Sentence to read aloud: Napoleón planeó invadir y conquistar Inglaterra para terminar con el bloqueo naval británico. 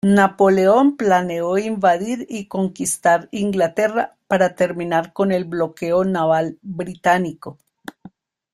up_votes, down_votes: 2, 0